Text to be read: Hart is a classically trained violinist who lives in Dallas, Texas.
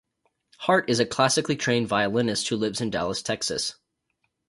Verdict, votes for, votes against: accepted, 4, 0